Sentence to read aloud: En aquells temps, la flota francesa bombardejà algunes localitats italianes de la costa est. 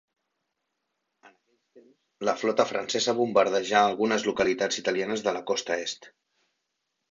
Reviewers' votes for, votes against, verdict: 1, 2, rejected